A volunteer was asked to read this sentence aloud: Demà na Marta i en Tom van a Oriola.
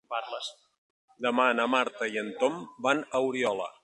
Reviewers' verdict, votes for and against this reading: rejected, 0, 2